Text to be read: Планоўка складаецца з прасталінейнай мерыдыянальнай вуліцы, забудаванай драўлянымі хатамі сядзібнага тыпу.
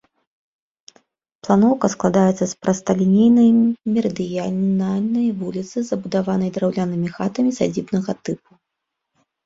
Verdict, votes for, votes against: rejected, 0, 2